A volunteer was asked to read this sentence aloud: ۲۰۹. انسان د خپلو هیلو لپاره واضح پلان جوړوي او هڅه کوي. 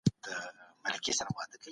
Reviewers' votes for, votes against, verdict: 0, 2, rejected